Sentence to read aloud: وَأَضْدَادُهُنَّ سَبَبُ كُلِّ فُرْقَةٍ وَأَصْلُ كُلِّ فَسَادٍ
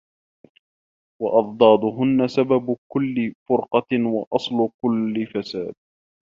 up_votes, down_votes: 1, 2